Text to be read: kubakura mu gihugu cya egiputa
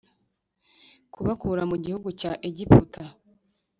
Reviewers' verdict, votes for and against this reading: accepted, 2, 0